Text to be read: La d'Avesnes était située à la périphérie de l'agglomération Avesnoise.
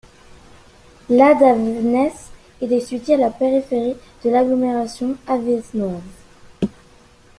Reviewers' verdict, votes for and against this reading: rejected, 0, 2